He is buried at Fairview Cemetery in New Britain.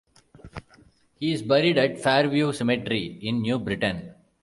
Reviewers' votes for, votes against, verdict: 1, 2, rejected